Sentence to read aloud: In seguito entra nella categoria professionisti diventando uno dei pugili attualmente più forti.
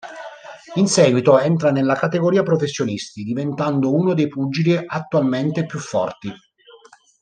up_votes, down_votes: 2, 1